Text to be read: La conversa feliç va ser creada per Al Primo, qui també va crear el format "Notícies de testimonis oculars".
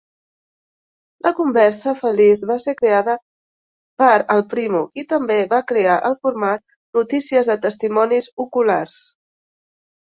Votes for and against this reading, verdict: 3, 0, accepted